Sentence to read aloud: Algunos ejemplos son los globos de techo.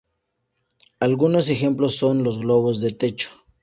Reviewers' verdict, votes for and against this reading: accepted, 2, 0